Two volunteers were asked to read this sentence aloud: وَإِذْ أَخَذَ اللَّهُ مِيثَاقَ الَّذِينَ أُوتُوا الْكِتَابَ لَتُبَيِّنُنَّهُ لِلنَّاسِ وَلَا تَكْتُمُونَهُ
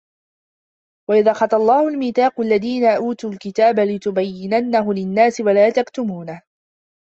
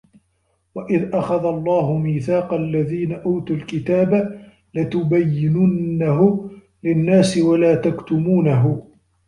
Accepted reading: second